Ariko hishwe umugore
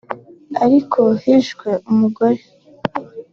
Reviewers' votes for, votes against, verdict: 2, 1, accepted